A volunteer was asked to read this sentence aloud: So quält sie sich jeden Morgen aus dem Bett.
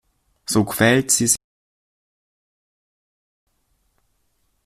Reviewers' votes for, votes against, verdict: 0, 2, rejected